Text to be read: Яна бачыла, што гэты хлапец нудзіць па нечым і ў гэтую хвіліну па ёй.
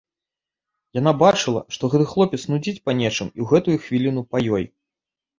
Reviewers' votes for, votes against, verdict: 2, 1, accepted